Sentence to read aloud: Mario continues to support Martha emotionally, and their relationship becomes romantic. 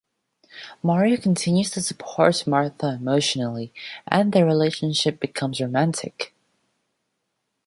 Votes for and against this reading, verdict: 2, 0, accepted